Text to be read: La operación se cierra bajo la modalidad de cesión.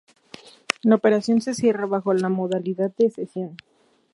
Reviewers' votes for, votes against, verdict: 2, 0, accepted